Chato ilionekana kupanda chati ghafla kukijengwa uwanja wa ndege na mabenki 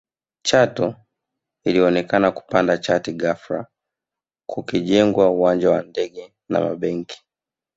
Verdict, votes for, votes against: accepted, 2, 0